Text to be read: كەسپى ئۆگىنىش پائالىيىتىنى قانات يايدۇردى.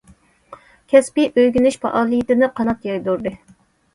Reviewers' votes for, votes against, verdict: 2, 0, accepted